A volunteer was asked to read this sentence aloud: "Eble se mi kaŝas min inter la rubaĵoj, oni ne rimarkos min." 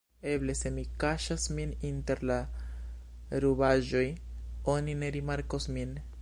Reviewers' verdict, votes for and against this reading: rejected, 0, 2